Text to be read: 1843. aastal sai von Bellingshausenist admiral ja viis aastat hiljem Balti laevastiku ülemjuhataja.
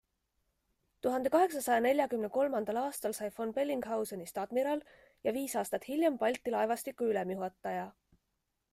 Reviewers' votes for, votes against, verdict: 0, 2, rejected